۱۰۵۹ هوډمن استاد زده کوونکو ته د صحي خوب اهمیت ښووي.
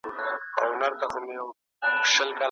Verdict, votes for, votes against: rejected, 0, 2